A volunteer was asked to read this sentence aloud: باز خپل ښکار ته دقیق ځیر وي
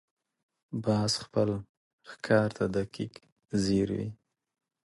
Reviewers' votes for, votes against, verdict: 2, 0, accepted